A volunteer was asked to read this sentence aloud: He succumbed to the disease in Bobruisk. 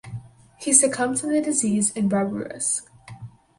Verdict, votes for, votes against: rejected, 2, 2